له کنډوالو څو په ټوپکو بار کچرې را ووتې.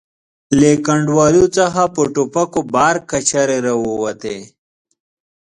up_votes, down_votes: 1, 2